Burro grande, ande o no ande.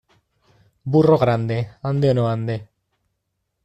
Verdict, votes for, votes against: accepted, 2, 0